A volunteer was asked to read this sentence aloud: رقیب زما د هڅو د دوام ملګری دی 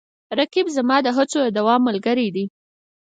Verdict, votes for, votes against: accepted, 4, 0